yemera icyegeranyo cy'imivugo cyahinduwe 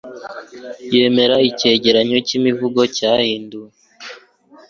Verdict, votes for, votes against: accepted, 3, 0